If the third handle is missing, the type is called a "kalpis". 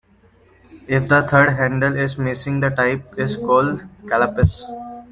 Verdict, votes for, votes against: accepted, 2, 1